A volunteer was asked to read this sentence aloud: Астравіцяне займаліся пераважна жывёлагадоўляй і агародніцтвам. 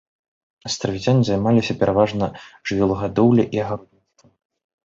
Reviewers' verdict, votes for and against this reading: rejected, 0, 2